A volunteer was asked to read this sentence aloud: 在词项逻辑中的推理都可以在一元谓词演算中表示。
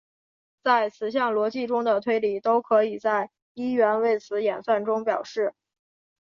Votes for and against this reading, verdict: 2, 0, accepted